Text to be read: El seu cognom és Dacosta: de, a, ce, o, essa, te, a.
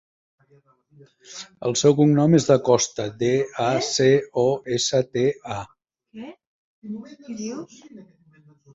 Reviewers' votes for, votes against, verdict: 0, 2, rejected